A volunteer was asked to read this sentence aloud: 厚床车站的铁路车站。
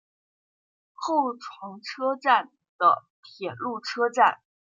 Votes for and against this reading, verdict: 2, 0, accepted